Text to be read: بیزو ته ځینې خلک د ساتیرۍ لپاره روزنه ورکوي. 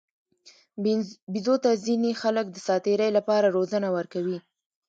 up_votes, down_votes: 1, 2